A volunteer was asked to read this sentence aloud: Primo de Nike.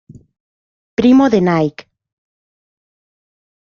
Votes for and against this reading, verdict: 2, 0, accepted